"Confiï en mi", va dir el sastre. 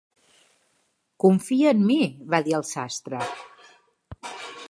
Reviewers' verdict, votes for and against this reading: rejected, 1, 2